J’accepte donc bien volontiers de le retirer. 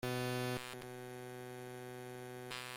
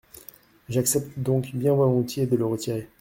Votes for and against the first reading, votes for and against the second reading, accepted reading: 0, 2, 2, 0, second